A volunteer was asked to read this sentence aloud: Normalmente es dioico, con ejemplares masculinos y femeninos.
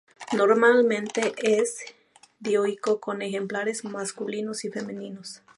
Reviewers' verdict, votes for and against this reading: rejected, 0, 2